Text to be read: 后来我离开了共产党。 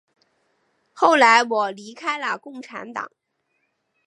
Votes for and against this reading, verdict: 4, 0, accepted